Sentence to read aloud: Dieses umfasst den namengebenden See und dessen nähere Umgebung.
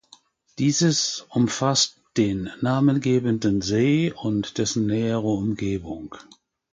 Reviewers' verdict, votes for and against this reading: accepted, 2, 0